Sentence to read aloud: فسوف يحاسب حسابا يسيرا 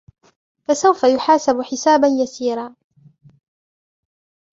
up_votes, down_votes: 1, 2